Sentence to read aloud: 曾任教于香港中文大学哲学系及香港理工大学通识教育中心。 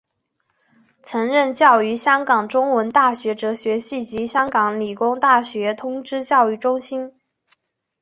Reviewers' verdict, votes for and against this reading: accepted, 2, 1